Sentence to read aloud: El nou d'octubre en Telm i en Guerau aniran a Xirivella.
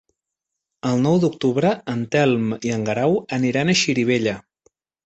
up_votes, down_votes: 5, 0